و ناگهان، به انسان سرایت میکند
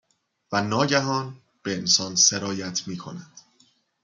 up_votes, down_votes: 2, 0